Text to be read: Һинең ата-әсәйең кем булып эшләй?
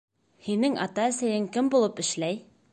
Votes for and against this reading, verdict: 2, 0, accepted